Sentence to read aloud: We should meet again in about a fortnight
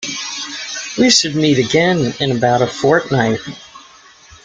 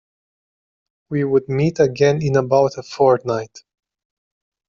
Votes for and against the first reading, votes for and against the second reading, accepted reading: 2, 1, 1, 2, first